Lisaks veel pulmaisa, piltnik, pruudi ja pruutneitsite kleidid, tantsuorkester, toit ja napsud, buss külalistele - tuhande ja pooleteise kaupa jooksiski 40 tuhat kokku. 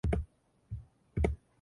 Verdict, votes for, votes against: rejected, 0, 2